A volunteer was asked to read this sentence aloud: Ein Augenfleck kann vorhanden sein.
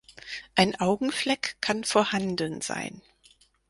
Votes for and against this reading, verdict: 4, 0, accepted